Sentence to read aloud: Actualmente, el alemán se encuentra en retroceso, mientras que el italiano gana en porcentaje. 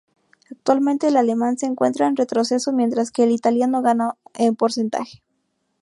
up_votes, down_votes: 0, 2